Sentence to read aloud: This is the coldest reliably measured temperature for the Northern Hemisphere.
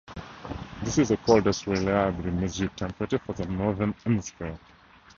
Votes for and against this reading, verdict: 0, 4, rejected